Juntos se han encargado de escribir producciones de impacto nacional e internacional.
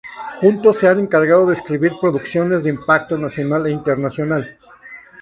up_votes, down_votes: 0, 2